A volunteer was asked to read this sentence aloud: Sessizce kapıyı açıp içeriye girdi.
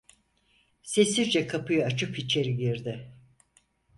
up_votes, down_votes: 2, 4